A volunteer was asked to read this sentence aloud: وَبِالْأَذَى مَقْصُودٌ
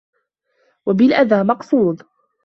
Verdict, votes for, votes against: accepted, 2, 0